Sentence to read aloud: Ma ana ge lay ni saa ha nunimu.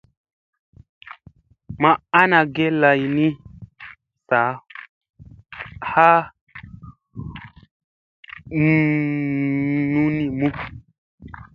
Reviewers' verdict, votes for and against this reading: accepted, 2, 0